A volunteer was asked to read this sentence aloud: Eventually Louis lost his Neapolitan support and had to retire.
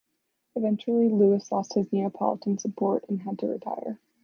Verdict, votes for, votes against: accepted, 2, 1